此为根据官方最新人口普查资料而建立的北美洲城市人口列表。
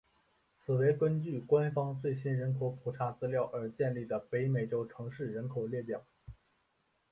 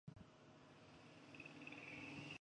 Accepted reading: first